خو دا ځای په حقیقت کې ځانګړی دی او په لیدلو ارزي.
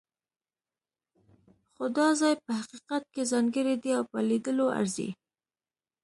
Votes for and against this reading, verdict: 2, 0, accepted